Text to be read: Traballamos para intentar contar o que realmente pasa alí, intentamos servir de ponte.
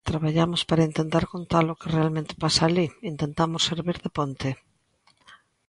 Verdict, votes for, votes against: accepted, 2, 0